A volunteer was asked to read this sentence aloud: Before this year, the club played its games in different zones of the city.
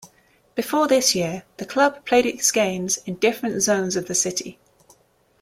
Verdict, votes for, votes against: accepted, 2, 0